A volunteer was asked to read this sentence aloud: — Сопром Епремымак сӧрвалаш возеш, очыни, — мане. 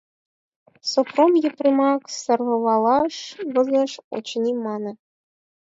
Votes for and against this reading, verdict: 4, 0, accepted